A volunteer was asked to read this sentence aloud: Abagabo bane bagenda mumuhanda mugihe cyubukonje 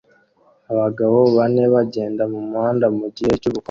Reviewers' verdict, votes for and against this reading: rejected, 0, 2